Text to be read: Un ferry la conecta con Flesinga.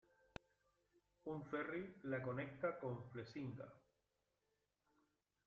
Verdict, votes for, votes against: accepted, 2, 0